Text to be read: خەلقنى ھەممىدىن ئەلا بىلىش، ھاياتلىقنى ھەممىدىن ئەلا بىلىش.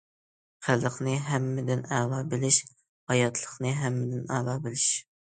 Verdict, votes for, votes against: accepted, 2, 0